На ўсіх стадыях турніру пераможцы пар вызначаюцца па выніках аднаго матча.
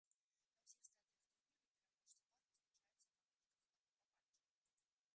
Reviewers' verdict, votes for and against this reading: rejected, 0, 2